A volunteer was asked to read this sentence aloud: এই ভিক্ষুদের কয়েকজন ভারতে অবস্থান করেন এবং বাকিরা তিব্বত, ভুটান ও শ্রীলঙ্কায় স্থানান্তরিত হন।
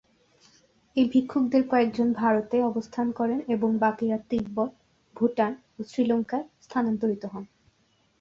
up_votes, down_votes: 0, 2